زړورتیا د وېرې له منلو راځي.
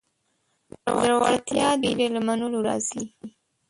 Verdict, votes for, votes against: rejected, 0, 2